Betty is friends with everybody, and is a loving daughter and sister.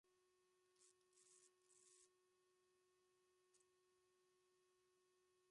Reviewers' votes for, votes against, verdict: 0, 2, rejected